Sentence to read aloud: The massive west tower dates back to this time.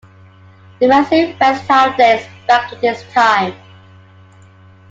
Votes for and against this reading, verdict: 2, 1, accepted